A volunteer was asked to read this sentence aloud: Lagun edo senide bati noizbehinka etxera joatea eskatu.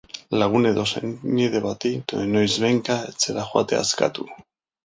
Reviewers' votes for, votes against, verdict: 0, 2, rejected